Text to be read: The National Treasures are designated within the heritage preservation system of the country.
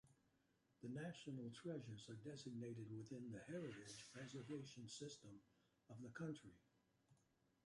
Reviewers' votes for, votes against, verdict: 1, 2, rejected